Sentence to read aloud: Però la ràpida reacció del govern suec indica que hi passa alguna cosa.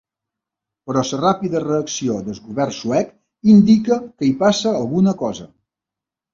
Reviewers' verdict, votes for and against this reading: rejected, 0, 2